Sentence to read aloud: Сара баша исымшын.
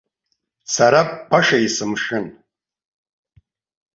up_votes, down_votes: 0, 2